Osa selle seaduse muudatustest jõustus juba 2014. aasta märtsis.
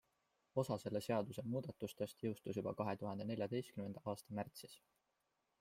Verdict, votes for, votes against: rejected, 0, 2